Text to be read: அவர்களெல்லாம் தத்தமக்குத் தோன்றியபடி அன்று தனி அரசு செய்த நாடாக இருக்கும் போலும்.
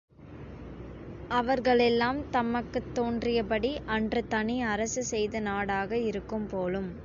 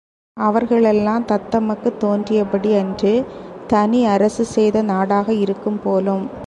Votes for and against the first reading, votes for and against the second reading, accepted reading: 0, 2, 2, 0, second